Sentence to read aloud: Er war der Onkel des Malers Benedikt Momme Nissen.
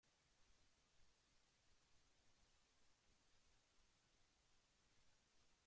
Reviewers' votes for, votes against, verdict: 0, 2, rejected